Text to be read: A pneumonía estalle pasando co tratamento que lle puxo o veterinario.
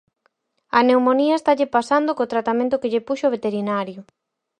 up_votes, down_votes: 4, 0